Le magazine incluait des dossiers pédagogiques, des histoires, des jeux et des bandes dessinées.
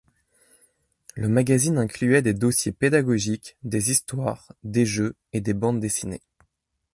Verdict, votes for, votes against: accepted, 2, 0